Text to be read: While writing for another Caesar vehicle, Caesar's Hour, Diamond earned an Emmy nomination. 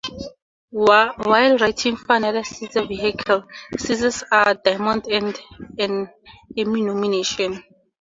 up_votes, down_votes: 4, 6